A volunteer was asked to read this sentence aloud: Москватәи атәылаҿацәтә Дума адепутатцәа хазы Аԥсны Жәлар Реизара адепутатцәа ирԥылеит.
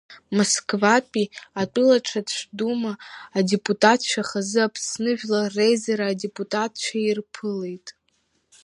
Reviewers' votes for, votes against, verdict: 2, 1, accepted